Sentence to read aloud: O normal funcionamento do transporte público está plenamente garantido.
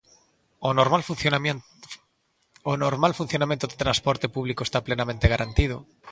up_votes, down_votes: 1, 2